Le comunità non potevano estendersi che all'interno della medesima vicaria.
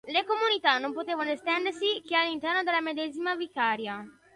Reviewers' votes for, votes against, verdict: 2, 1, accepted